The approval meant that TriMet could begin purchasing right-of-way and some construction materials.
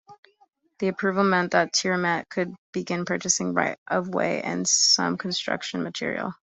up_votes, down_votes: 1, 2